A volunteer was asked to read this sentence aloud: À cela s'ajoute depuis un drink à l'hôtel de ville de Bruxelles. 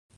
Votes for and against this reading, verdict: 0, 2, rejected